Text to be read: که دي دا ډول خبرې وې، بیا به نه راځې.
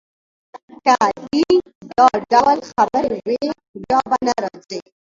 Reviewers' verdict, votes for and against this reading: rejected, 1, 2